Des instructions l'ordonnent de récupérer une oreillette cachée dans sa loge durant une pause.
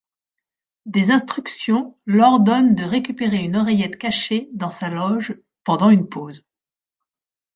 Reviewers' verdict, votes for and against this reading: rejected, 1, 2